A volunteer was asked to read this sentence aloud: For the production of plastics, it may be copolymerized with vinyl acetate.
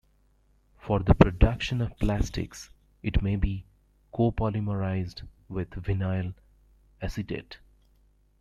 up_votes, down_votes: 1, 2